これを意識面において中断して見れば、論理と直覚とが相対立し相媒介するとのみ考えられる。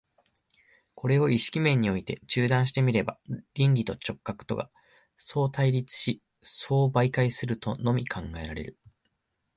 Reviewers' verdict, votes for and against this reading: rejected, 0, 2